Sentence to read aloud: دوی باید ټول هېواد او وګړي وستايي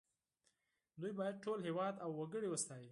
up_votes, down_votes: 4, 0